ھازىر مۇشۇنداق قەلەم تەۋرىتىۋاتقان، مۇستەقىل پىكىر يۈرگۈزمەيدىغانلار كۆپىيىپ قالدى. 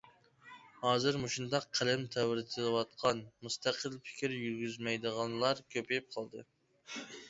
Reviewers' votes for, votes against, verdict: 0, 2, rejected